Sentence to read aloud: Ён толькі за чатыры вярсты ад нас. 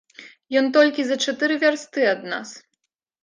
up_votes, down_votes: 2, 0